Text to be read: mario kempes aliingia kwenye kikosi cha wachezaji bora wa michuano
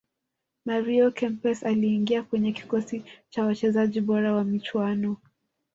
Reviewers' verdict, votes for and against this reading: rejected, 0, 2